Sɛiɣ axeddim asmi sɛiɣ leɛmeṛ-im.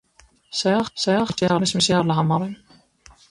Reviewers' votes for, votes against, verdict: 1, 2, rejected